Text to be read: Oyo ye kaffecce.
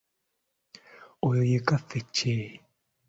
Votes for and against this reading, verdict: 2, 0, accepted